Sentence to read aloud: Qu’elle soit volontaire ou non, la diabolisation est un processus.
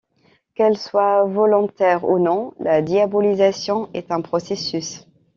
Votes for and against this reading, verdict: 2, 0, accepted